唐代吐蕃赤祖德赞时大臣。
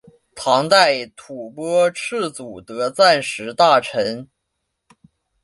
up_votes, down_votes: 2, 1